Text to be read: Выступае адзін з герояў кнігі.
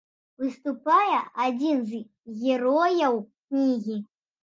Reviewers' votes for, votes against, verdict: 2, 0, accepted